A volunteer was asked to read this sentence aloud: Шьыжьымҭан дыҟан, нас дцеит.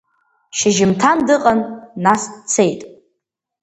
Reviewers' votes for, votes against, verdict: 2, 0, accepted